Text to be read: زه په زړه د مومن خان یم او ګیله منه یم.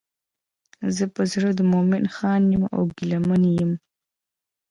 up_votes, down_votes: 3, 0